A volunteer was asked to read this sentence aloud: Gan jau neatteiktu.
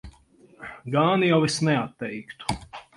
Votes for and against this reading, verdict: 0, 4, rejected